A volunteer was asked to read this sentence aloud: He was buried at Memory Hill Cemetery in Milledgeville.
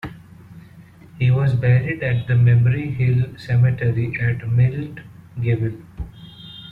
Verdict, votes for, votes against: rejected, 0, 2